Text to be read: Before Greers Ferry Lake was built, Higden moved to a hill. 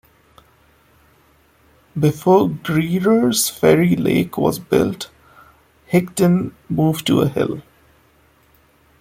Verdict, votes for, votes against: rejected, 1, 2